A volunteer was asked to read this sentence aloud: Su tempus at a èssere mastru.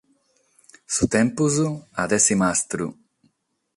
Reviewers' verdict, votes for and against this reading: accepted, 6, 0